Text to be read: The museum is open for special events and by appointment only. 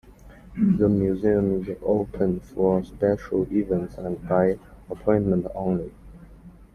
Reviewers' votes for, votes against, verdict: 2, 0, accepted